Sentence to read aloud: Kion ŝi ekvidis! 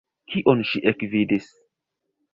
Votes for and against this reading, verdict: 0, 2, rejected